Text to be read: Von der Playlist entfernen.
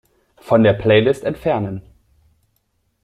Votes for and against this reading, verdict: 1, 2, rejected